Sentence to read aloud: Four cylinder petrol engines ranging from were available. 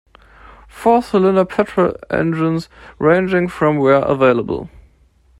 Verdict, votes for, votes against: accepted, 2, 1